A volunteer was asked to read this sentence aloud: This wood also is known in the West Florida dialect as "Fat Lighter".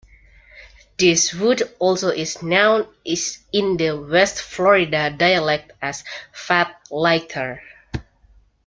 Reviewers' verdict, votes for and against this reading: rejected, 0, 2